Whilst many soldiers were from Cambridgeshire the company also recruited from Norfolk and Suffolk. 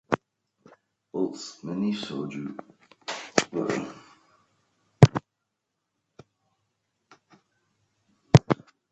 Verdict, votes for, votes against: rejected, 0, 3